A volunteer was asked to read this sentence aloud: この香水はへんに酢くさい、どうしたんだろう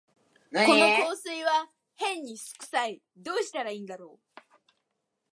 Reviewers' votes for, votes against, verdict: 0, 2, rejected